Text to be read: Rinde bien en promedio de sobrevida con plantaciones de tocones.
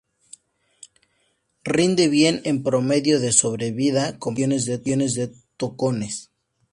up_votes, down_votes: 0, 4